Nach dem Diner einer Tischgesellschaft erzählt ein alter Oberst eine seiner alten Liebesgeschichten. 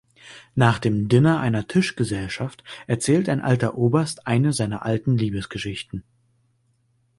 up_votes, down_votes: 2, 3